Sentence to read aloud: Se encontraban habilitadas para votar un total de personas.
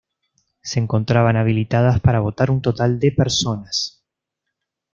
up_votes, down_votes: 2, 0